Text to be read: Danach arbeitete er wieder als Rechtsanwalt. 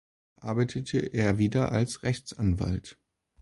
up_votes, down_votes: 0, 2